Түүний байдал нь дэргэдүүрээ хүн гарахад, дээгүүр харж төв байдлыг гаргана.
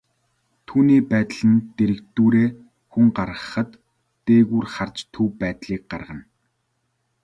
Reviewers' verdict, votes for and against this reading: accepted, 2, 0